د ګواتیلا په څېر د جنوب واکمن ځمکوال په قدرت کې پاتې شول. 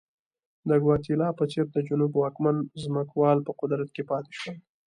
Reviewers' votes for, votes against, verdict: 2, 0, accepted